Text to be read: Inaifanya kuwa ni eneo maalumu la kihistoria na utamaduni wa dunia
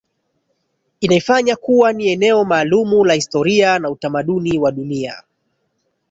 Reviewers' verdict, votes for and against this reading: rejected, 1, 2